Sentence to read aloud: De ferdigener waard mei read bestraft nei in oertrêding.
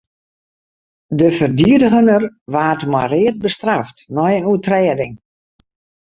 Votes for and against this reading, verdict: 0, 2, rejected